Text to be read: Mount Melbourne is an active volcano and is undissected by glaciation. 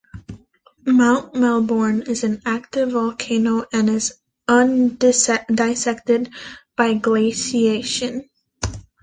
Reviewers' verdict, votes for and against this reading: rejected, 1, 2